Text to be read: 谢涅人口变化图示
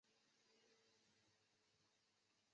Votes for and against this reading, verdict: 1, 3, rejected